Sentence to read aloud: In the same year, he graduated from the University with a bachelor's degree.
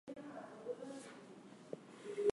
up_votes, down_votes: 0, 4